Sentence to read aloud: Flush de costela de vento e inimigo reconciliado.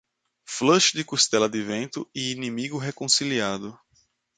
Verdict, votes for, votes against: accepted, 2, 0